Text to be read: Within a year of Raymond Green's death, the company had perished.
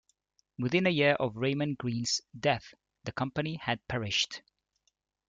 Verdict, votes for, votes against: accepted, 2, 1